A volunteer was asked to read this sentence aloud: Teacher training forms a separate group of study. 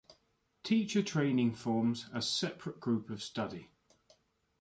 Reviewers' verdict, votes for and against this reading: accepted, 2, 0